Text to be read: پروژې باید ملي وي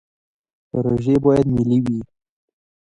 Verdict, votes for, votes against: accepted, 2, 1